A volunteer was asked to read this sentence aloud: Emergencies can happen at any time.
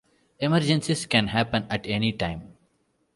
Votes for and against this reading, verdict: 2, 0, accepted